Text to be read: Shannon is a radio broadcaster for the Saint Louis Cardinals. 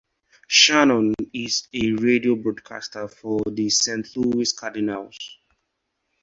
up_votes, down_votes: 2, 2